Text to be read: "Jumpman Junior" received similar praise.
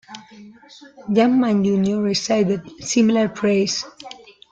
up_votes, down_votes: 1, 2